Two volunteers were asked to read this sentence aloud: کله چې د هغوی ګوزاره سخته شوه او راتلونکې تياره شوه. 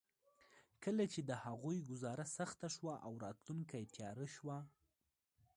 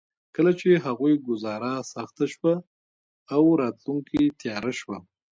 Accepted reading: first